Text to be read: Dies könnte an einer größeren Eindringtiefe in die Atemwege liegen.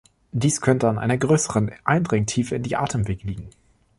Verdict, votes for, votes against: rejected, 1, 2